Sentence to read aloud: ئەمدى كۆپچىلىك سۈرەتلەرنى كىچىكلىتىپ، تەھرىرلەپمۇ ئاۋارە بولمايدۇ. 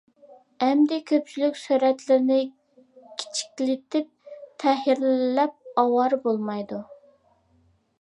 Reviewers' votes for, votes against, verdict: 0, 2, rejected